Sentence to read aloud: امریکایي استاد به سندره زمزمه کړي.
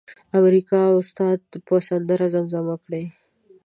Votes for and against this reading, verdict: 1, 2, rejected